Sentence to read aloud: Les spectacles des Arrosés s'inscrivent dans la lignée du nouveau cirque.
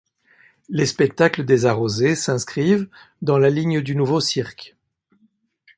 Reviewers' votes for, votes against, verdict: 1, 2, rejected